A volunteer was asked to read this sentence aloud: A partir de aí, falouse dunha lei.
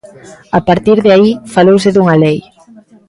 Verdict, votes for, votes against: accepted, 2, 0